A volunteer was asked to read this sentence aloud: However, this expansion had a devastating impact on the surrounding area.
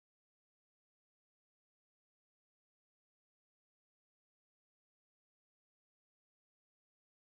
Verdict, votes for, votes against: rejected, 0, 2